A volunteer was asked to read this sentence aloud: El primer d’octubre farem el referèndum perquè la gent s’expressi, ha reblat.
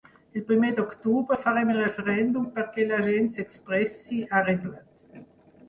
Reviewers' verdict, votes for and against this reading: accepted, 6, 2